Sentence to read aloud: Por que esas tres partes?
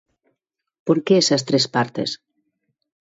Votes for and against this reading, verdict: 2, 0, accepted